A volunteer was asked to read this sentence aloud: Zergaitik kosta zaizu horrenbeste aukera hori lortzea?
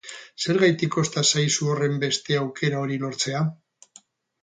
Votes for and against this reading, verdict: 4, 0, accepted